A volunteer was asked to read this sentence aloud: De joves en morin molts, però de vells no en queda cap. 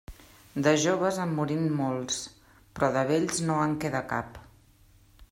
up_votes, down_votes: 2, 0